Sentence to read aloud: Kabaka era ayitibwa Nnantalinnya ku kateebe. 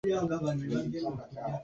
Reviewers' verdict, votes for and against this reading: rejected, 0, 2